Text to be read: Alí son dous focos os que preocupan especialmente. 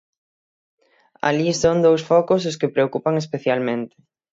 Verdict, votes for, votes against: accepted, 6, 3